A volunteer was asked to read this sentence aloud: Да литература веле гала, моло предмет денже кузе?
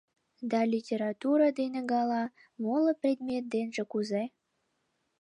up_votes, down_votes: 0, 2